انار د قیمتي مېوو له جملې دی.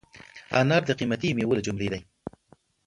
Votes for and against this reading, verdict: 2, 0, accepted